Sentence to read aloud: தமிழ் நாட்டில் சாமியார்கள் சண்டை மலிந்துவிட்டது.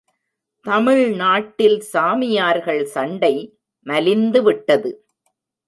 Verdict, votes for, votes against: accepted, 2, 0